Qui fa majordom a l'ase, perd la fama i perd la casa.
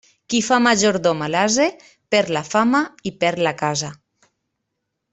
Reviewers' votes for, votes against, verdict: 2, 0, accepted